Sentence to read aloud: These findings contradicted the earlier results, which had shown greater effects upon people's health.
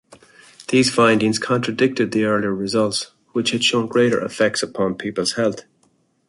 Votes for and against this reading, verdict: 2, 0, accepted